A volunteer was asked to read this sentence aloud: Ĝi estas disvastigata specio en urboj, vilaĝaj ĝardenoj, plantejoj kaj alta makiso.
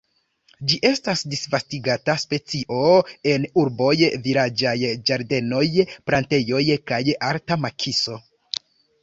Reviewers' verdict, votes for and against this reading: rejected, 1, 2